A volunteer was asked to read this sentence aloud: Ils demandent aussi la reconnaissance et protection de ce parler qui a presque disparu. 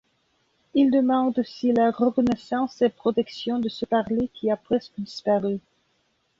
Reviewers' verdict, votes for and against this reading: rejected, 0, 2